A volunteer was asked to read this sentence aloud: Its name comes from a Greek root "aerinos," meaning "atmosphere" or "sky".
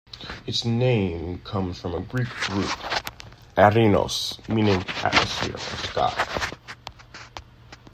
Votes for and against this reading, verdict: 1, 2, rejected